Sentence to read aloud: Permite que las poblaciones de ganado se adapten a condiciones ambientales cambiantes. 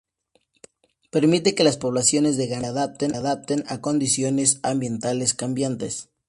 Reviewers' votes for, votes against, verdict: 2, 2, rejected